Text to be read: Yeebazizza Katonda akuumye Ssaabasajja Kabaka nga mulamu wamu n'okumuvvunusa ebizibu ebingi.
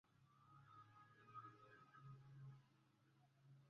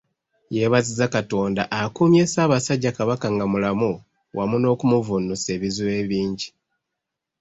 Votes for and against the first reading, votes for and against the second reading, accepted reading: 0, 2, 2, 0, second